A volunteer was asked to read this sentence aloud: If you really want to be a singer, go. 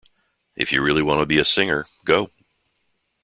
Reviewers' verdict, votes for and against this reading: rejected, 1, 2